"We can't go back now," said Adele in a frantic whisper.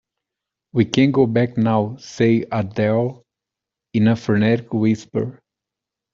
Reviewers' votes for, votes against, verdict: 0, 2, rejected